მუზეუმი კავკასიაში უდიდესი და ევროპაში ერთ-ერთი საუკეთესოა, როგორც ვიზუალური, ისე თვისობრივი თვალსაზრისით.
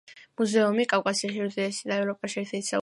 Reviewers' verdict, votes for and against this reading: rejected, 0, 2